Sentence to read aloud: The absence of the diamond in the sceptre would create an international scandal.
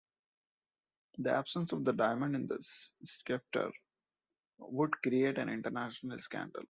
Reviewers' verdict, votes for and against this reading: accepted, 2, 1